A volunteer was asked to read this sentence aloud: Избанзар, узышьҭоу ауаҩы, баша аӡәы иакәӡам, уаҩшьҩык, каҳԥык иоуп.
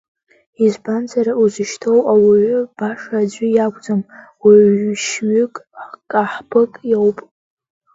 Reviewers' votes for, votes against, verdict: 1, 2, rejected